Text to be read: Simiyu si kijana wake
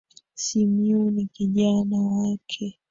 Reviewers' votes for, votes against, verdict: 1, 3, rejected